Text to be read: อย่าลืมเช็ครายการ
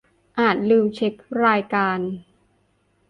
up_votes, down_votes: 0, 2